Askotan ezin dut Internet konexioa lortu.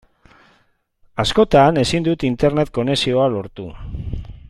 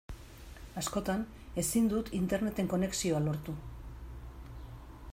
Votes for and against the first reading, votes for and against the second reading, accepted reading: 2, 0, 0, 2, first